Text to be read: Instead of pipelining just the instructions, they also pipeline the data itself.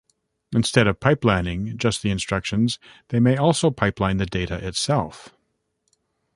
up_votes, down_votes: 1, 2